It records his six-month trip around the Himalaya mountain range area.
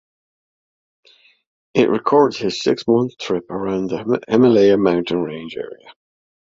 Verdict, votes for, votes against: rejected, 0, 2